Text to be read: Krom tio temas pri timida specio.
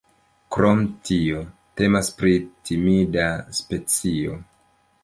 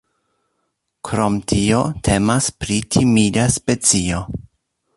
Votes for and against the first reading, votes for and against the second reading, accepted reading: 1, 2, 2, 0, second